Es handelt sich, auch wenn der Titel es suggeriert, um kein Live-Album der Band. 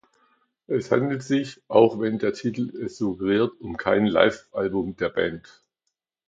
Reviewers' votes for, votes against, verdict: 2, 1, accepted